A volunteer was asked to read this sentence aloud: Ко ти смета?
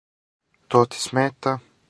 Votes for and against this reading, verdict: 0, 4, rejected